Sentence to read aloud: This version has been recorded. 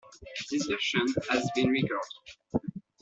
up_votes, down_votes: 2, 0